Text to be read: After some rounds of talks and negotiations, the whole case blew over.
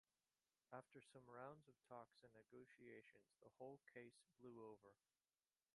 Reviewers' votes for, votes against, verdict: 1, 2, rejected